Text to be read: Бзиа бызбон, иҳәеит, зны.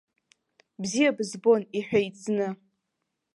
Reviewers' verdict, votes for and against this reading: accepted, 2, 0